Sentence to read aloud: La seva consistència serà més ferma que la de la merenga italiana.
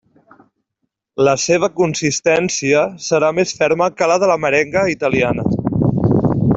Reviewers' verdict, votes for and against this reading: accepted, 2, 0